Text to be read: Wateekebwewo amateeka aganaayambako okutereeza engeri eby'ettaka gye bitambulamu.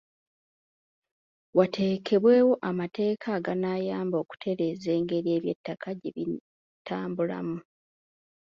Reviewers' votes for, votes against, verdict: 1, 2, rejected